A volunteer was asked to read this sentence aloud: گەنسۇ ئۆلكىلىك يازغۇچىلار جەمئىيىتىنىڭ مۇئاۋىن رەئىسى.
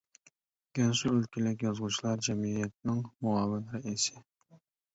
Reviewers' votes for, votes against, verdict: 2, 0, accepted